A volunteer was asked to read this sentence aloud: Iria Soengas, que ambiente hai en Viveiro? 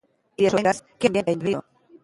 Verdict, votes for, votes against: rejected, 0, 2